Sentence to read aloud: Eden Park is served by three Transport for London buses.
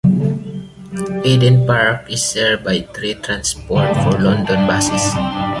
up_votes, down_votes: 1, 2